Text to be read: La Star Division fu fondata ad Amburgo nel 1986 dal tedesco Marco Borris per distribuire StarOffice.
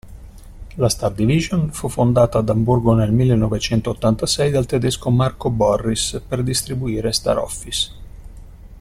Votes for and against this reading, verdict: 0, 2, rejected